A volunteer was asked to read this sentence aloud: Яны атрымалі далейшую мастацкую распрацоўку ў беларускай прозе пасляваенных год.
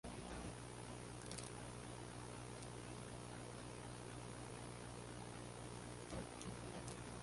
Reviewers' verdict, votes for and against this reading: rejected, 0, 2